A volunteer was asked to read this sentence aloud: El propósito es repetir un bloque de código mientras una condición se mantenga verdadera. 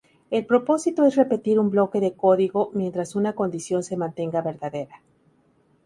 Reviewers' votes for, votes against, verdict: 2, 0, accepted